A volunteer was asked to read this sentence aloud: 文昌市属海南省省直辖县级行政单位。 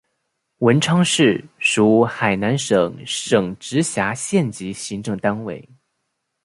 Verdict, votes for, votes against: rejected, 1, 2